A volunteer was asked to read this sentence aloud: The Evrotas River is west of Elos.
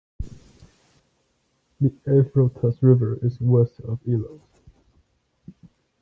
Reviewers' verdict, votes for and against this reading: rejected, 0, 2